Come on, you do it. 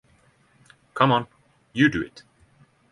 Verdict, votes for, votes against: rejected, 3, 3